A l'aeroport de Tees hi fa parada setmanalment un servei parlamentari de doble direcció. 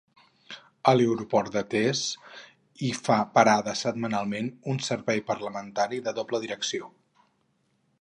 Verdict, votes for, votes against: rejected, 2, 2